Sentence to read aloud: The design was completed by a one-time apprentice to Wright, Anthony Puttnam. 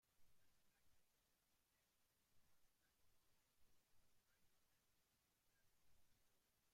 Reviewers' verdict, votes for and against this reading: rejected, 0, 2